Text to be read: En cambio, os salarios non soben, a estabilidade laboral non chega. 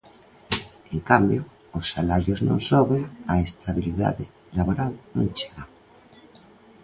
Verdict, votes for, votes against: accepted, 2, 0